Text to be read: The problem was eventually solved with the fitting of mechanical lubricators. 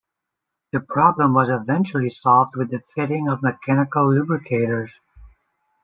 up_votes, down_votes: 2, 0